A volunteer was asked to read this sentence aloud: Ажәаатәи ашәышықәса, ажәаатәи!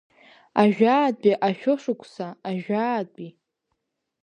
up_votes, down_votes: 2, 0